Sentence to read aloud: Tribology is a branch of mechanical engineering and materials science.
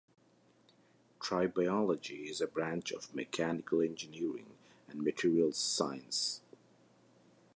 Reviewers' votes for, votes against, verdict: 2, 0, accepted